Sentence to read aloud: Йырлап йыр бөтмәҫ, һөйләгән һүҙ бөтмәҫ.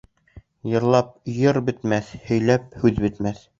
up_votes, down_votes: 0, 2